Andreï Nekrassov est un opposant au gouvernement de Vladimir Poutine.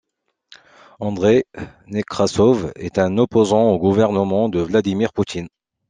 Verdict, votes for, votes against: accepted, 2, 0